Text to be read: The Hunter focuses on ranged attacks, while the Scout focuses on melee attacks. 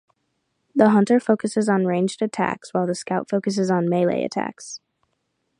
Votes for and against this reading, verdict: 0, 2, rejected